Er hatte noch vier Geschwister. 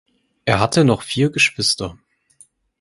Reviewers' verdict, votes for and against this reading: accepted, 4, 0